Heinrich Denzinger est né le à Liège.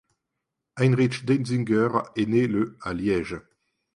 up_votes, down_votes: 2, 0